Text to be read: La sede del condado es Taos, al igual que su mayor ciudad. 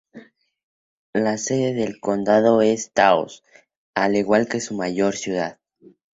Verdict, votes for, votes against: accepted, 4, 0